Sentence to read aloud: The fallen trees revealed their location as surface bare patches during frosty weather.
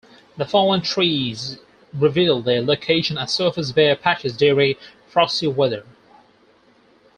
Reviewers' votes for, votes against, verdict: 4, 2, accepted